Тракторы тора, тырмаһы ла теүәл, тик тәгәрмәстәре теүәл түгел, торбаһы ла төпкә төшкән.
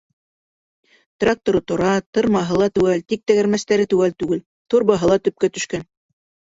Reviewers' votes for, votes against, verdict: 2, 0, accepted